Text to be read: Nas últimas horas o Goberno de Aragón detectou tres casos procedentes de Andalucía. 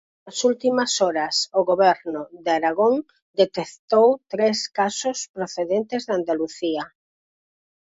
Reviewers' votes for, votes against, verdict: 4, 0, accepted